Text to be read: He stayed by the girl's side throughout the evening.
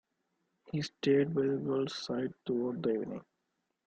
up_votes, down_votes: 1, 2